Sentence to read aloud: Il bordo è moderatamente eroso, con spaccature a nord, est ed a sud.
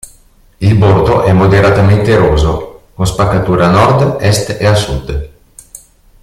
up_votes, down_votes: 2, 1